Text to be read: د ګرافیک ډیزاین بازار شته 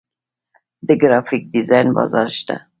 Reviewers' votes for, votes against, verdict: 2, 0, accepted